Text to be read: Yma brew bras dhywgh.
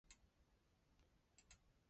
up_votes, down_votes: 0, 2